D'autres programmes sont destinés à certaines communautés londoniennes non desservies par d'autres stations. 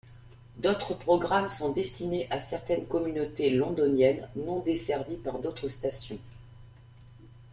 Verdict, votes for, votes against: accepted, 2, 0